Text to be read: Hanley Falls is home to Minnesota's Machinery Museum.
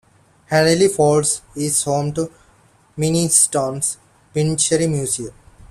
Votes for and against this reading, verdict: 0, 2, rejected